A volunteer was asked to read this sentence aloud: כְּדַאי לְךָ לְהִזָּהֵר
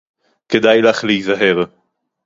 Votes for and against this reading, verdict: 2, 4, rejected